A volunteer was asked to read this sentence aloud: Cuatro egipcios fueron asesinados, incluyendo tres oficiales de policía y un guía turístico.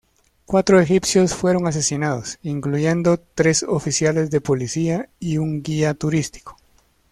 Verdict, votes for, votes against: accepted, 2, 0